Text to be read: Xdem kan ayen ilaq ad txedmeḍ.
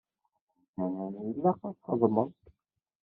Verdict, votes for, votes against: rejected, 1, 2